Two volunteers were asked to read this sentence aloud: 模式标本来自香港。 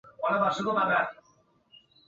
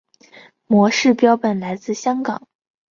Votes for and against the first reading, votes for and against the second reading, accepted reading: 2, 4, 2, 0, second